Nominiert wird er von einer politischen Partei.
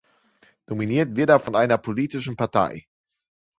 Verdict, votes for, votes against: accepted, 2, 0